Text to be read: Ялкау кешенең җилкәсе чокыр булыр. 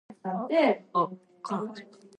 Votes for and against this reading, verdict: 0, 2, rejected